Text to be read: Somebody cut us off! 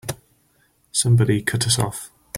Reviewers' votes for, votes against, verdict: 3, 1, accepted